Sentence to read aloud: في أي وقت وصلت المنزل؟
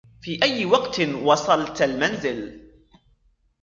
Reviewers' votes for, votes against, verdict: 4, 1, accepted